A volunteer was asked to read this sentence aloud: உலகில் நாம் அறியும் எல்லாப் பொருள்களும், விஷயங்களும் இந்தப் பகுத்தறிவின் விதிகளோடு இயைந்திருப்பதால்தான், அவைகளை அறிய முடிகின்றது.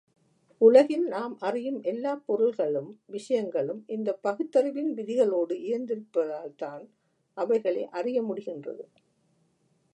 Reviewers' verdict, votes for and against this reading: accepted, 2, 0